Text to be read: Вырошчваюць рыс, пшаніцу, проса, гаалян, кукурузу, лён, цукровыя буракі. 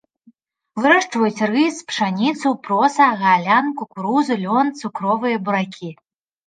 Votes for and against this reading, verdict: 0, 2, rejected